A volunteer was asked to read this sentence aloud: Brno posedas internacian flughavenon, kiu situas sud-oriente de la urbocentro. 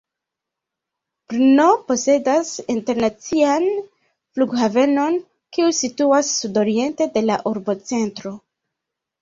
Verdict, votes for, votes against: rejected, 0, 2